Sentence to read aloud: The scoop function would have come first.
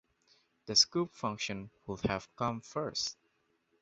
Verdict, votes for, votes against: accepted, 2, 0